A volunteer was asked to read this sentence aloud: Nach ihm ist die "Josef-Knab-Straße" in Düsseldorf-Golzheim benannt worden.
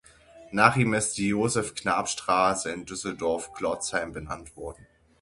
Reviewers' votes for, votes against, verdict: 0, 6, rejected